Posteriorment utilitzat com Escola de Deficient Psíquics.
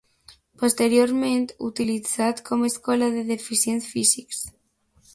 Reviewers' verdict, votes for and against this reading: rejected, 0, 2